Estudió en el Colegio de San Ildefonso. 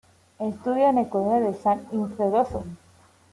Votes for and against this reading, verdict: 0, 2, rejected